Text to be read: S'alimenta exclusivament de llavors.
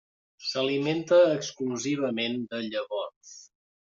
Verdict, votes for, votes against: rejected, 1, 2